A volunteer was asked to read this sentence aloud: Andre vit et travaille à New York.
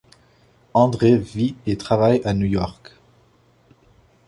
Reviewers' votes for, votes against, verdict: 2, 0, accepted